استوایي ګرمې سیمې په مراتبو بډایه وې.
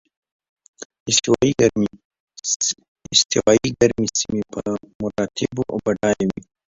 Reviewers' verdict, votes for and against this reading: rejected, 0, 2